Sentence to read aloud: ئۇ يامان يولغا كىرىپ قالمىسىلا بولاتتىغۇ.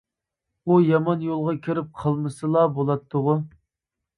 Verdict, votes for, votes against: accepted, 2, 0